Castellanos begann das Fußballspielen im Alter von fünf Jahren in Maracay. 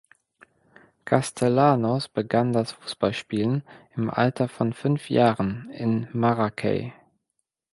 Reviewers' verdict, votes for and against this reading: accepted, 2, 0